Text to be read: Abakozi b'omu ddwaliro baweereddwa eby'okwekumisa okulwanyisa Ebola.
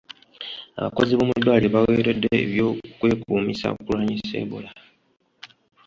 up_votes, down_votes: 1, 2